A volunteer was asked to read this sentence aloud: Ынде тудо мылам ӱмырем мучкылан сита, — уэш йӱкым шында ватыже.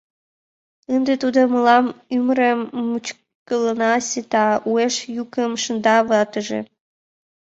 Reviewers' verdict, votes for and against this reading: rejected, 1, 2